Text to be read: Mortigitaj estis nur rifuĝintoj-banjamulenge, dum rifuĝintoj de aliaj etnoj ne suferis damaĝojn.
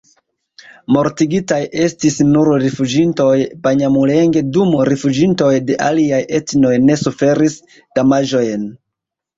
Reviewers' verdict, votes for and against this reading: rejected, 1, 2